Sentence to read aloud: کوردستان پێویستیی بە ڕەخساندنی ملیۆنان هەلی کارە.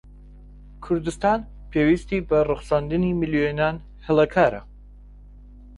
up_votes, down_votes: 1, 2